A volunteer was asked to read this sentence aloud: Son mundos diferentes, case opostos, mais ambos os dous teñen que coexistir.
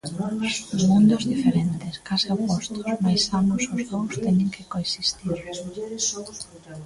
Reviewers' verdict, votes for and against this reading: rejected, 0, 2